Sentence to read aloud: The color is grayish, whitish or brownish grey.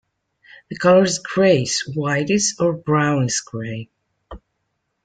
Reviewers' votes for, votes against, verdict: 1, 2, rejected